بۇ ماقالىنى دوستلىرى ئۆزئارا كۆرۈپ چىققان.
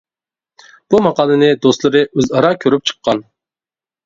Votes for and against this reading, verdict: 2, 0, accepted